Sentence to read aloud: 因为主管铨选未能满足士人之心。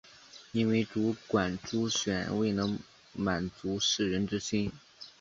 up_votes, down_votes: 0, 2